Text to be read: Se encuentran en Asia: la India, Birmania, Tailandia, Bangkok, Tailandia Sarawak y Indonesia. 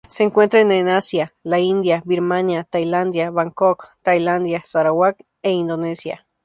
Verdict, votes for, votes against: rejected, 0, 2